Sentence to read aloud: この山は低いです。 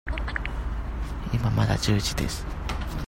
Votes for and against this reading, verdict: 0, 2, rejected